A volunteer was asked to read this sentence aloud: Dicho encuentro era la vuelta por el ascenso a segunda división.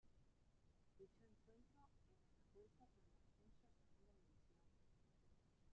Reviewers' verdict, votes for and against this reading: rejected, 1, 2